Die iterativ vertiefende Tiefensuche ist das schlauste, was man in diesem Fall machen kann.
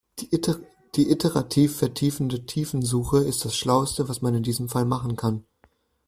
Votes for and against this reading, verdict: 0, 2, rejected